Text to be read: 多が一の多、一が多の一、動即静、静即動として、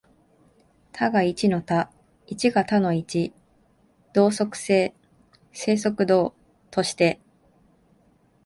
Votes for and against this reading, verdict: 2, 0, accepted